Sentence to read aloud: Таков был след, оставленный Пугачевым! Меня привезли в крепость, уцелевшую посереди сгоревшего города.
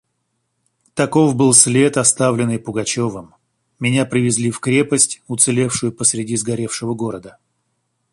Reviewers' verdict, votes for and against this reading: rejected, 1, 2